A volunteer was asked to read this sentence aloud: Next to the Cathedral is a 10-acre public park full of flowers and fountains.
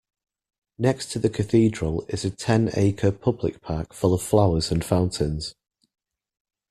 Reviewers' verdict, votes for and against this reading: rejected, 0, 2